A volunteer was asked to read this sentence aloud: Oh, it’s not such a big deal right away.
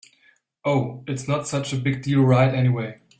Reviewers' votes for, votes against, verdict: 0, 2, rejected